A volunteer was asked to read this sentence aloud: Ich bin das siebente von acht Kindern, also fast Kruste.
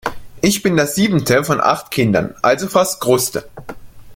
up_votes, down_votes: 2, 0